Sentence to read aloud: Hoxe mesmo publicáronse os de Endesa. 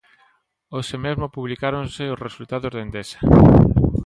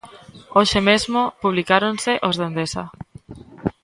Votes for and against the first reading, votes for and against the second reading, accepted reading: 0, 2, 2, 0, second